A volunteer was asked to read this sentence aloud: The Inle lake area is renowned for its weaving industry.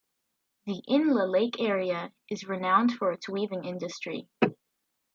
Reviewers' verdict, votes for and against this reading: accepted, 2, 1